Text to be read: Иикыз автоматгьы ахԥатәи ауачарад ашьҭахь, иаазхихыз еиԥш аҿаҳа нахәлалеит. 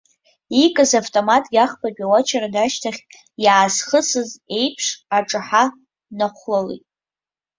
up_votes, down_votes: 0, 2